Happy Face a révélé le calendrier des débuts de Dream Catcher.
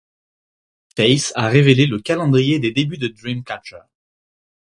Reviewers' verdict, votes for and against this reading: rejected, 0, 4